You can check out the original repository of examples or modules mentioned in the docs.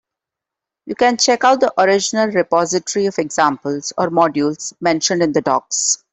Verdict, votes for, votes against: accepted, 2, 0